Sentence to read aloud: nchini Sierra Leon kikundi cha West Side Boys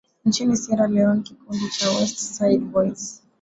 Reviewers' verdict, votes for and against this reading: accepted, 7, 1